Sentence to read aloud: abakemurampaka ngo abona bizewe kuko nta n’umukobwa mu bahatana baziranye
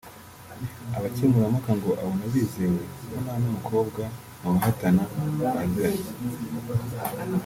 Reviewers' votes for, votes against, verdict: 0, 2, rejected